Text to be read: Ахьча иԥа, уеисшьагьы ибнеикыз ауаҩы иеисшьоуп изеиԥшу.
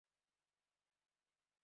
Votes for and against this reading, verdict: 0, 2, rejected